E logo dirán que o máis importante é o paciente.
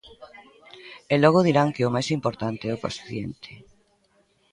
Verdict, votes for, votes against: rejected, 0, 2